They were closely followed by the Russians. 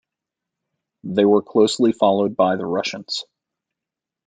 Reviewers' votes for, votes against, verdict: 2, 0, accepted